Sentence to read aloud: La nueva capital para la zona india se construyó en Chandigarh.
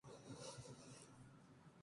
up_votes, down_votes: 0, 4